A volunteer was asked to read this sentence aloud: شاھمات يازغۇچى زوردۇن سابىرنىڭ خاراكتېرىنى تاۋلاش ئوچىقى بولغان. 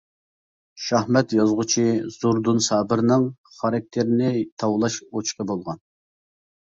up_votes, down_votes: 1, 2